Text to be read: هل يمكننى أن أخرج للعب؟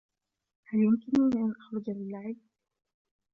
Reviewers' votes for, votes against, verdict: 1, 3, rejected